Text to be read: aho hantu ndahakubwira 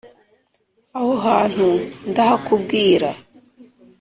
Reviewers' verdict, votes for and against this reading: accepted, 2, 0